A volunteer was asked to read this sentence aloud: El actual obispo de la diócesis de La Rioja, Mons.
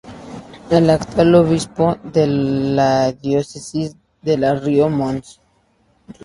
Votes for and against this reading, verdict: 0, 2, rejected